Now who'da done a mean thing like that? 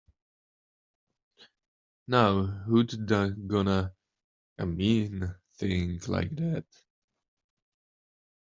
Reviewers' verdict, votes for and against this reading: rejected, 0, 2